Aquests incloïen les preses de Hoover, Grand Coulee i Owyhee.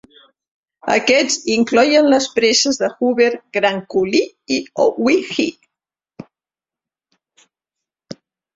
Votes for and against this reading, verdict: 0, 2, rejected